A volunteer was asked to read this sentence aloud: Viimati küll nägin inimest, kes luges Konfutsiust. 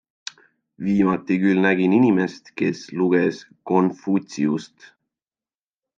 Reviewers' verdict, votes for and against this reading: accepted, 2, 0